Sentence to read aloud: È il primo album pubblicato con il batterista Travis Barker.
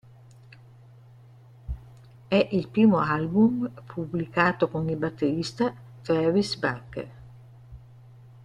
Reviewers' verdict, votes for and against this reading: rejected, 1, 2